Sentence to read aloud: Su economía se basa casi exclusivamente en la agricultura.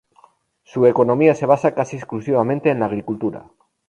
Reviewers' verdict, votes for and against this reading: rejected, 2, 2